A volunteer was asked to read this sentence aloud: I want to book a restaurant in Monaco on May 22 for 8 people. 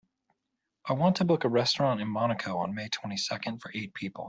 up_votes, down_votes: 0, 2